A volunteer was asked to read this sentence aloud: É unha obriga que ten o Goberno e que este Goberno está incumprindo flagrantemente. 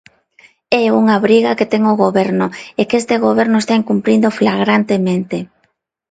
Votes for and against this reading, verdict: 2, 0, accepted